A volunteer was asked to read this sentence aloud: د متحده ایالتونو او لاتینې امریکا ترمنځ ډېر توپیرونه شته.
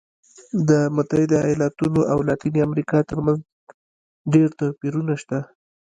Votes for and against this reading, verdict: 1, 2, rejected